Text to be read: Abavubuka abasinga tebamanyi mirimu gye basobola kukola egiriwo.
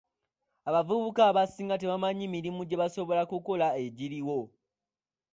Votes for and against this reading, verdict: 2, 1, accepted